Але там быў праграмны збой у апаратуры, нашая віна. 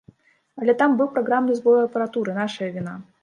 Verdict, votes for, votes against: accepted, 2, 1